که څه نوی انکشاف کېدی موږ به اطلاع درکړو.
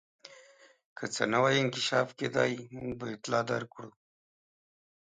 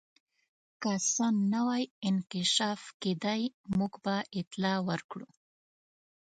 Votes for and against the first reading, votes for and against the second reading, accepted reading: 2, 0, 0, 2, first